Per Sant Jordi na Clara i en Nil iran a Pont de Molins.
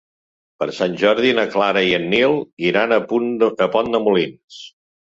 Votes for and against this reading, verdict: 0, 2, rejected